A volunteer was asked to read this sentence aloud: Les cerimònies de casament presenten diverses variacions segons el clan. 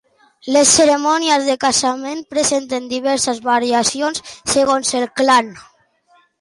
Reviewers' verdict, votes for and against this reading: accepted, 2, 0